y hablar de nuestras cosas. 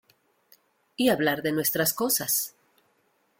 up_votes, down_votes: 2, 0